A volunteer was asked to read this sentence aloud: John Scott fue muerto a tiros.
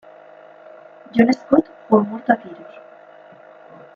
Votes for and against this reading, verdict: 2, 0, accepted